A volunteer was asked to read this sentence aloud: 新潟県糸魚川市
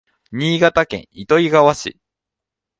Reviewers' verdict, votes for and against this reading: accepted, 2, 0